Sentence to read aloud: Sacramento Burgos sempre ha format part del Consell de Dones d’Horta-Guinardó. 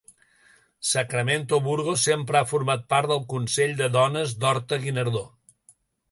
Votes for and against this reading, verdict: 2, 0, accepted